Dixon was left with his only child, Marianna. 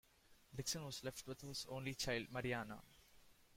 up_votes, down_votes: 2, 0